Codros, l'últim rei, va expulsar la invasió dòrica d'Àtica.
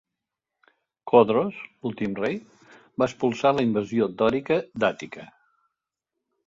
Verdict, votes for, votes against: accepted, 2, 0